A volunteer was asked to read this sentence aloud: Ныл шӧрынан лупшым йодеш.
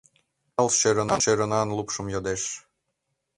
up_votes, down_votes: 0, 2